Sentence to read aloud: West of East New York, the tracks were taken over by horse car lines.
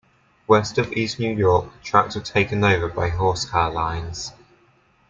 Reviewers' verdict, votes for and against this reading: accepted, 2, 1